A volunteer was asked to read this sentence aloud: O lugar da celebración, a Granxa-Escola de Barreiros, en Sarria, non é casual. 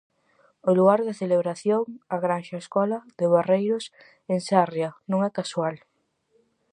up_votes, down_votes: 2, 2